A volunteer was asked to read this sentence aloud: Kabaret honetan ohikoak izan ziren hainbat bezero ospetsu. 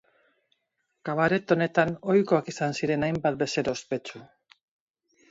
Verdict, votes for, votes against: accepted, 4, 0